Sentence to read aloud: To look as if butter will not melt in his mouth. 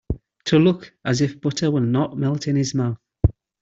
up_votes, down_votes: 2, 0